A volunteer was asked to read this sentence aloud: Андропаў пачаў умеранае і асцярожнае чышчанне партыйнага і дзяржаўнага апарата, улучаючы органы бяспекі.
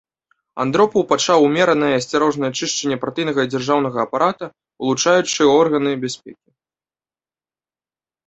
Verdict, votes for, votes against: accepted, 2, 0